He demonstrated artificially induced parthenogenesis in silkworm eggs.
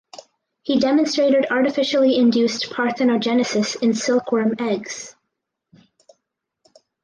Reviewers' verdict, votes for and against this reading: rejected, 0, 4